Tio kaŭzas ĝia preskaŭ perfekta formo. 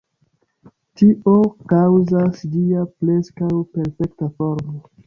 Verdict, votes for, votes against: accepted, 3, 1